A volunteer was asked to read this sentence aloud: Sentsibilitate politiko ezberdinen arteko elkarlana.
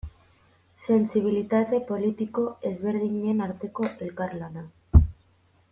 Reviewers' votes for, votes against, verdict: 2, 0, accepted